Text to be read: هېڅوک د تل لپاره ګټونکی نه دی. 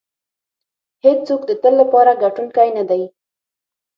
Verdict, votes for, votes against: rejected, 0, 6